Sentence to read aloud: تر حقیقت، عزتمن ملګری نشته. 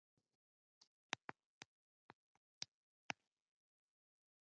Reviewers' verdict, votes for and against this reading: rejected, 0, 2